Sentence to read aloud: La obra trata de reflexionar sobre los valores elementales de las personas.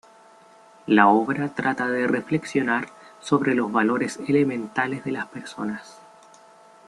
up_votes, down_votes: 0, 2